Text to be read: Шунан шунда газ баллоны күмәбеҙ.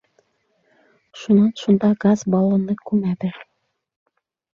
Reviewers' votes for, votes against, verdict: 2, 0, accepted